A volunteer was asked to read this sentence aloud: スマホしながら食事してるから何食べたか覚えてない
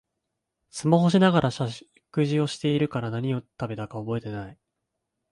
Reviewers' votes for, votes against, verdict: 1, 2, rejected